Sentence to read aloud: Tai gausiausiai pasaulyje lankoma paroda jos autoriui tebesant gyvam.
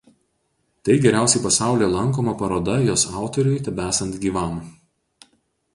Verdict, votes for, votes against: rejected, 0, 4